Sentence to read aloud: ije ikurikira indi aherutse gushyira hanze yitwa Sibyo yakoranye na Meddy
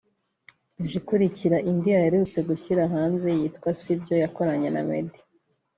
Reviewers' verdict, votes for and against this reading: accepted, 2, 1